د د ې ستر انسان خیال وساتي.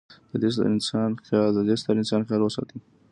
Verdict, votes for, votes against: accepted, 2, 0